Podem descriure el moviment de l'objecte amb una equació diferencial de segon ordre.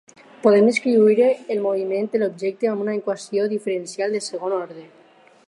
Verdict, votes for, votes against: accepted, 4, 0